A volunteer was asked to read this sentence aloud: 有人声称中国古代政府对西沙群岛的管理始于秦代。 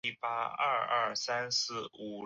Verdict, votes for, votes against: rejected, 0, 6